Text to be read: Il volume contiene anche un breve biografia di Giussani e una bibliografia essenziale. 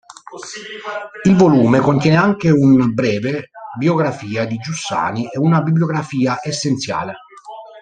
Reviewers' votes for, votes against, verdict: 1, 2, rejected